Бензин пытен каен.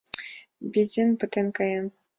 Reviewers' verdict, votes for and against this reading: accepted, 2, 0